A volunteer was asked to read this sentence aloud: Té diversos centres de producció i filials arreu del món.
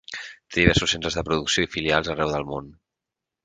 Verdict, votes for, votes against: accepted, 4, 0